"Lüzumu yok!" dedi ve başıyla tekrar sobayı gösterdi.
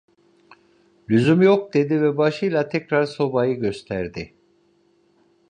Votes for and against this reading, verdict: 2, 0, accepted